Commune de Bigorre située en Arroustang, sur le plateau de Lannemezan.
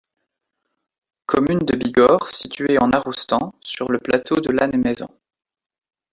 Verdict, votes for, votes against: accepted, 2, 1